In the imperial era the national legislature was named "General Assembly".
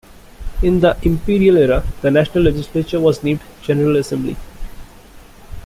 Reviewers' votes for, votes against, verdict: 2, 0, accepted